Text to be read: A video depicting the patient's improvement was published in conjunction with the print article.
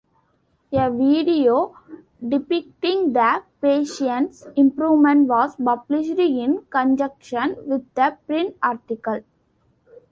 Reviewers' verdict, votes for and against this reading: rejected, 0, 2